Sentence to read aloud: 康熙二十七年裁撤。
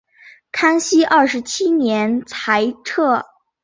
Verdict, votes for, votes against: accepted, 9, 0